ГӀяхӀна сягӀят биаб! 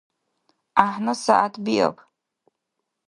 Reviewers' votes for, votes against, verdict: 2, 0, accepted